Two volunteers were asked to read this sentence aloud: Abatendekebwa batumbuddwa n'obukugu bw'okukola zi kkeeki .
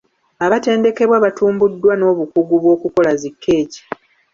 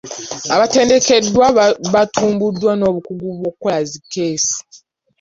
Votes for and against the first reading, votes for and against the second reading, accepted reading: 2, 0, 1, 2, first